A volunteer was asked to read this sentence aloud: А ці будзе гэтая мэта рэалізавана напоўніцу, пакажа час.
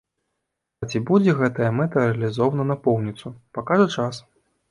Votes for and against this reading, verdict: 0, 2, rejected